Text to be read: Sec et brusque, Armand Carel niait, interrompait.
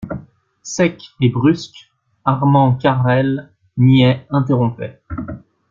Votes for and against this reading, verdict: 2, 0, accepted